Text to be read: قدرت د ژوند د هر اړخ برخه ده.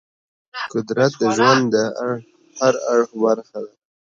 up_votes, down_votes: 1, 3